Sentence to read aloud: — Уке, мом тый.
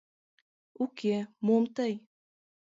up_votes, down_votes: 2, 0